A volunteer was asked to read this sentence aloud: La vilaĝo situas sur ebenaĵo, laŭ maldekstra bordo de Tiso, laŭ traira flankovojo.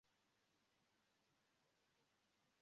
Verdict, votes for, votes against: rejected, 0, 2